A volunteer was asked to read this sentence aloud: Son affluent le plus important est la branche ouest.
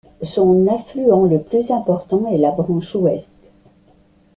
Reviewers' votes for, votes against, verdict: 2, 0, accepted